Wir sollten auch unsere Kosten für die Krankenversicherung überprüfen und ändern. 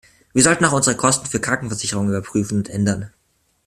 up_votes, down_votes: 0, 2